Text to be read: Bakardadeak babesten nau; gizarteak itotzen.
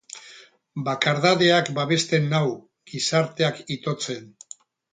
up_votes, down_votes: 4, 0